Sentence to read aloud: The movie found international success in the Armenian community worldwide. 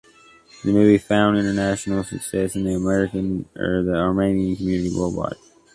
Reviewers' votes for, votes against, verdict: 0, 2, rejected